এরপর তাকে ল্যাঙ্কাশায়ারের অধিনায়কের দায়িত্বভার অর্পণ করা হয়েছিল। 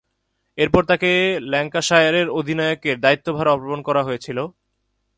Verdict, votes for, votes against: rejected, 1, 3